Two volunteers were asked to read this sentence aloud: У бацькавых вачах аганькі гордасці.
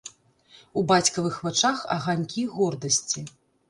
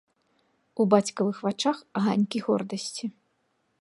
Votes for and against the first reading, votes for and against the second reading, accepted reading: 0, 2, 2, 0, second